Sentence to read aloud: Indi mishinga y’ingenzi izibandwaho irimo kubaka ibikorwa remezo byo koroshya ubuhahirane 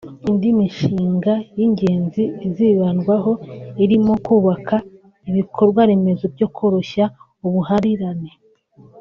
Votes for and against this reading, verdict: 2, 3, rejected